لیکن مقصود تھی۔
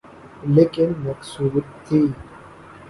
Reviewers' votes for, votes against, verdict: 3, 1, accepted